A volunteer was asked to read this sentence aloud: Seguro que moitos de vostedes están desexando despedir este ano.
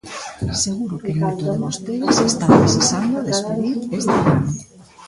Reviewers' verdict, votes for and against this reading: rejected, 0, 2